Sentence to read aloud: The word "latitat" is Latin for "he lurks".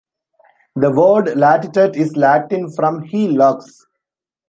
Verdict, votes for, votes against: rejected, 1, 2